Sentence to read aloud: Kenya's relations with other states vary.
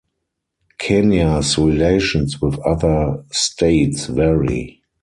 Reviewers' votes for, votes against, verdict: 4, 0, accepted